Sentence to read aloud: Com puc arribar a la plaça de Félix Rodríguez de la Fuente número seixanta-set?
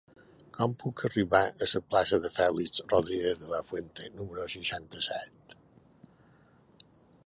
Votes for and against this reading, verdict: 0, 2, rejected